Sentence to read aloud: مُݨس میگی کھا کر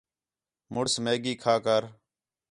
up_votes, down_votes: 4, 0